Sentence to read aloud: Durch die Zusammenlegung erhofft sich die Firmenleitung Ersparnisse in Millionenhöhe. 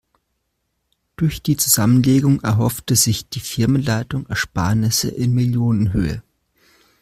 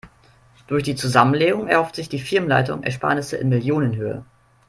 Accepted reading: second